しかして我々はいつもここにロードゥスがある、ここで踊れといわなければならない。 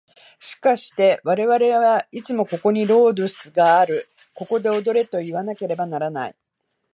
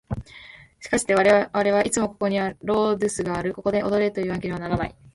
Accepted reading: first